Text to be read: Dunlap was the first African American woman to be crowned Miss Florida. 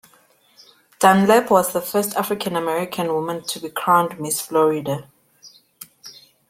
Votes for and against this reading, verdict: 2, 0, accepted